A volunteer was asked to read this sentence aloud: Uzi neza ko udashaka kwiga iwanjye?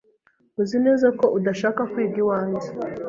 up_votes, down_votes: 2, 0